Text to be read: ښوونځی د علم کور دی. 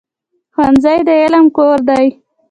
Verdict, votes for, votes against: accepted, 2, 0